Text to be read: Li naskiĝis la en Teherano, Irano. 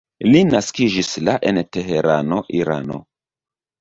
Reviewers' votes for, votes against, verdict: 2, 0, accepted